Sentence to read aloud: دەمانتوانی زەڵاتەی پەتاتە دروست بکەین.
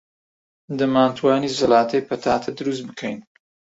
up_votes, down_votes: 2, 0